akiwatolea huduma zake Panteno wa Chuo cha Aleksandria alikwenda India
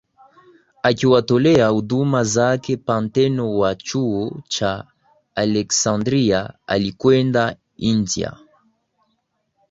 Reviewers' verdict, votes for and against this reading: accepted, 2, 0